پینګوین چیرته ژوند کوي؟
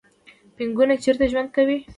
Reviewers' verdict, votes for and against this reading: rejected, 1, 2